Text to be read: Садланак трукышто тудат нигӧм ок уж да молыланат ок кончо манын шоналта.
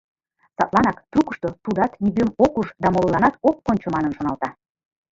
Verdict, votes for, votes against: rejected, 1, 2